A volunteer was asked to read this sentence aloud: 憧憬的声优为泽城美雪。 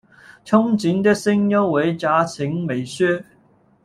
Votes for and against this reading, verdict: 0, 2, rejected